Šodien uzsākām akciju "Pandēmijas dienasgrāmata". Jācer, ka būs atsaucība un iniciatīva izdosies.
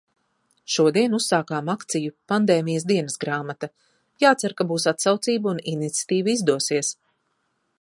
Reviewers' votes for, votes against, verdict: 2, 0, accepted